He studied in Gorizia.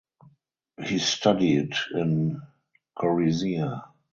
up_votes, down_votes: 0, 4